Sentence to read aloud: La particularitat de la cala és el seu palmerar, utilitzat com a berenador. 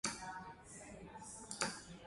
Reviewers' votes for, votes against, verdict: 0, 2, rejected